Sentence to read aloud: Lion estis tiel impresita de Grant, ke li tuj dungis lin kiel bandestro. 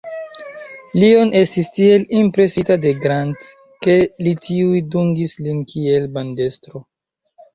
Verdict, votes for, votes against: rejected, 0, 2